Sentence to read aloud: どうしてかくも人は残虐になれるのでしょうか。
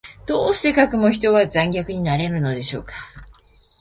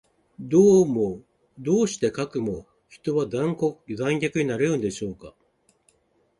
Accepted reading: first